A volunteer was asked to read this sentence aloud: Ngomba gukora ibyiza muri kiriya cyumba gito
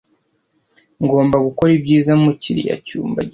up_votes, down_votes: 0, 2